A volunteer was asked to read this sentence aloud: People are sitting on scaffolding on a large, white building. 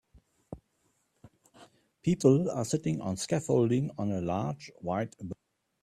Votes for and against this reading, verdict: 0, 2, rejected